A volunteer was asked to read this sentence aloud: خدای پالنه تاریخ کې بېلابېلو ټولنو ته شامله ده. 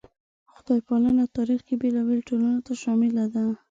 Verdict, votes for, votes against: accepted, 2, 0